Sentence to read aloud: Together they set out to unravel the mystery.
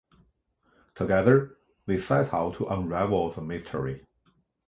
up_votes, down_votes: 2, 1